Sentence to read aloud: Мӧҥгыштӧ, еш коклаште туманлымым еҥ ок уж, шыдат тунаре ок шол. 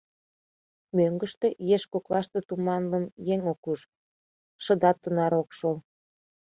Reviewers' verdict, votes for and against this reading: rejected, 0, 2